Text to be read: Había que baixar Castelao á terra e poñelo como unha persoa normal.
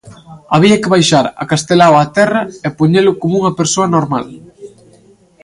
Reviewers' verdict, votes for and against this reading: rejected, 1, 2